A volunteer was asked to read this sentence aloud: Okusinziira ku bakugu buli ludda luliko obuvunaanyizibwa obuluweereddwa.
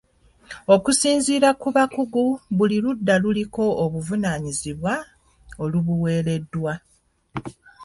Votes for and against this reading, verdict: 0, 2, rejected